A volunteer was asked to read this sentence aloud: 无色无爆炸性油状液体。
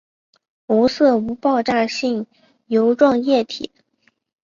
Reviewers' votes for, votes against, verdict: 2, 0, accepted